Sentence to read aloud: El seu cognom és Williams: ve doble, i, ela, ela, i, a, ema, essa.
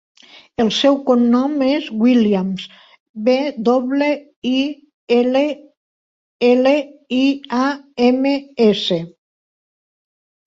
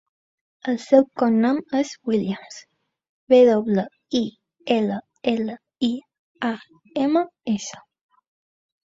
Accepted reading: second